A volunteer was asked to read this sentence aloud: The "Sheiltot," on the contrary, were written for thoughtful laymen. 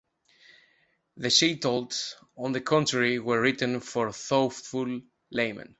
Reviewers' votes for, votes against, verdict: 1, 2, rejected